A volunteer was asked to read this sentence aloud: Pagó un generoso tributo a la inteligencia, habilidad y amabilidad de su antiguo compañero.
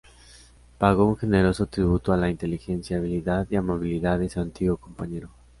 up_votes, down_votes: 2, 0